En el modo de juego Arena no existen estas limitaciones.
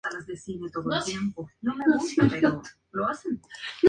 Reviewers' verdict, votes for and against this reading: rejected, 0, 4